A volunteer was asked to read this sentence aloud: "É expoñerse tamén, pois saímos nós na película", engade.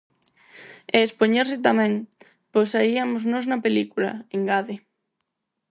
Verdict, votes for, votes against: rejected, 0, 4